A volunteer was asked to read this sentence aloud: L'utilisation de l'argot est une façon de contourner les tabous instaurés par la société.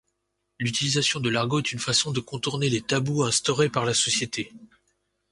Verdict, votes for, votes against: accepted, 2, 0